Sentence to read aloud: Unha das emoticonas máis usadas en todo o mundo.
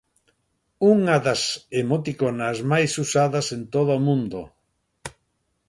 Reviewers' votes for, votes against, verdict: 2, 0, accepted